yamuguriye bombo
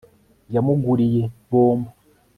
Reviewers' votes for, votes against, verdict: 3, 0, accepted